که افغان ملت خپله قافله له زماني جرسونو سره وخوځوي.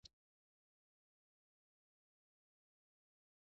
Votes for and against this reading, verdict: 0, 2, rejected